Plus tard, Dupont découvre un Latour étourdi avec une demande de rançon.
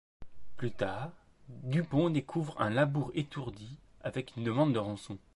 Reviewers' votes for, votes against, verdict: 1, 2, rejected